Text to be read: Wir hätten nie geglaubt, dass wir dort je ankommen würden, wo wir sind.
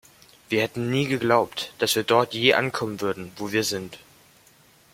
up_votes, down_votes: 2, 0